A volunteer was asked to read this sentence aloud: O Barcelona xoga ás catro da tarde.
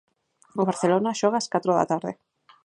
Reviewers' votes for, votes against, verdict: 4, 0, accepted